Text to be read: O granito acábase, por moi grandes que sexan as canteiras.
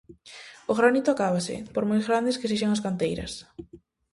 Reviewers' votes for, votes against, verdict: 0, 2, rejected